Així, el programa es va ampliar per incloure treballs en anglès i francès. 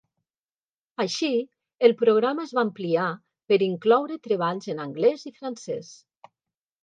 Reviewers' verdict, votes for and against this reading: accepted, 3, 0